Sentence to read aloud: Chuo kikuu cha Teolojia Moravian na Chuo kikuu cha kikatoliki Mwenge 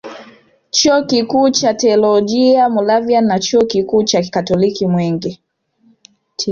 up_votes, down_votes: 2, 1